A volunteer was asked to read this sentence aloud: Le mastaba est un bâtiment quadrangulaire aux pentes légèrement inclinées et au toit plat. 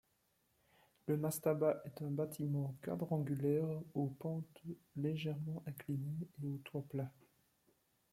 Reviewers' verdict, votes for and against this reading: accepted, 2, 1